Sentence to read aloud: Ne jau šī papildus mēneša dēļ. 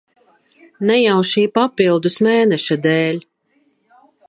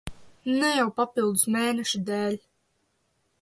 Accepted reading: first